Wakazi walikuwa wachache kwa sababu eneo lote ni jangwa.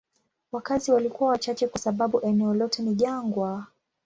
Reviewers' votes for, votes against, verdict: 2, 0, accepted